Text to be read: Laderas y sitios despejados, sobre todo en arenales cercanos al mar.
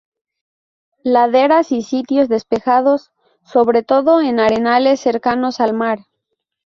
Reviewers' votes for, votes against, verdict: 0, 2, rejected